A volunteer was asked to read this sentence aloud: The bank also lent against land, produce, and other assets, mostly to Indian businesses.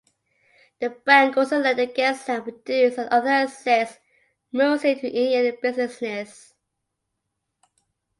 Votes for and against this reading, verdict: 2, 1, accepted